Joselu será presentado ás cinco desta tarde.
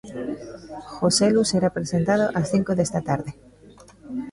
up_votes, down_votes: 2, 0